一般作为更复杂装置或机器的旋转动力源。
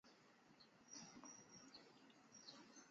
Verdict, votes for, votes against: rejected, 1, 2